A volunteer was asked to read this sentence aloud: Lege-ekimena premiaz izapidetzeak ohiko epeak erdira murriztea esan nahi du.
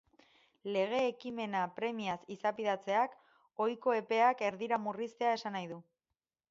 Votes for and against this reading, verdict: 0, 4, rejected